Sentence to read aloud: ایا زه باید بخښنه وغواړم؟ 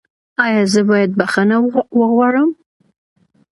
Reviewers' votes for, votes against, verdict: 2, 1, accepted